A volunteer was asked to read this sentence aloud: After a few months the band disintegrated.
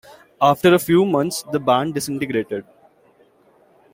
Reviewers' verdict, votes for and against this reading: accepted, 2, 0